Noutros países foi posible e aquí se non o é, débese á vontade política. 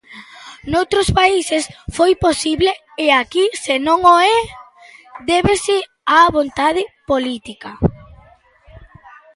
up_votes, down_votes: 2, 0